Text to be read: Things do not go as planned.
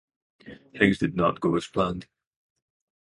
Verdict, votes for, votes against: accepted, 2, 0